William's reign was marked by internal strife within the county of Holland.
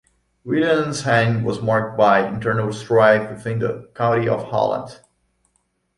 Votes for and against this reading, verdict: 1, 2, rejected